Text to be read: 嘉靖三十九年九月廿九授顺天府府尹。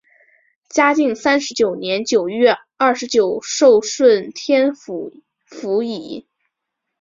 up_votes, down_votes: 6, 0